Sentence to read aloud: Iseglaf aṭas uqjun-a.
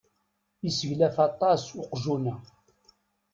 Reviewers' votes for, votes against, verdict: 2, 0, accepted